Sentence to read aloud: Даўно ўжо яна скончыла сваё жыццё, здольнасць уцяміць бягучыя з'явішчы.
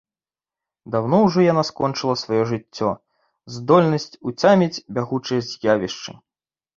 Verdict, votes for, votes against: accepted, 2, 0